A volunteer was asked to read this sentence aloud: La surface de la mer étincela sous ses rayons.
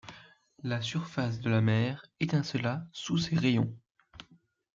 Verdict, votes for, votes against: accepted, 2, 0